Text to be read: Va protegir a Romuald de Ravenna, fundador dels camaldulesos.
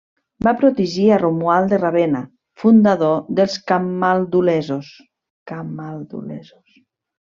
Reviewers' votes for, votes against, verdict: 1, 2, rejected